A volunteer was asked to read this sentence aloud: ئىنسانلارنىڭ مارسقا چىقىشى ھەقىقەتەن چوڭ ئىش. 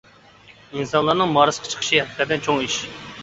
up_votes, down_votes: 2, 1